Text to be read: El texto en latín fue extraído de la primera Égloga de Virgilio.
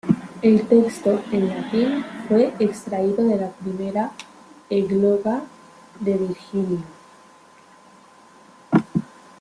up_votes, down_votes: 0, 2